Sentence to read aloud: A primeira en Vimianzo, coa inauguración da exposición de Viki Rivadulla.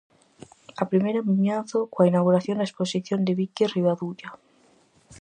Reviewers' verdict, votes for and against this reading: accepted, 4, 0